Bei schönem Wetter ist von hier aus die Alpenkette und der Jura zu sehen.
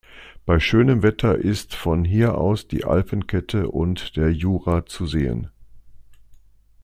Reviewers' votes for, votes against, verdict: 2, 0, accepted